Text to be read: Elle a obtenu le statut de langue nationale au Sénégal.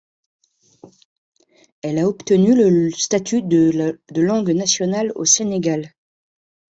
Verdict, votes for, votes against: rejected, 0, 2